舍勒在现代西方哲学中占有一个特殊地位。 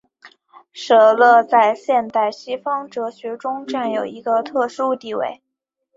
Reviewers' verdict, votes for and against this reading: accepted, 2, 1